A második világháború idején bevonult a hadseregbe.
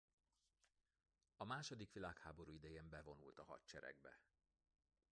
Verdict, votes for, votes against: rejected, 0, 2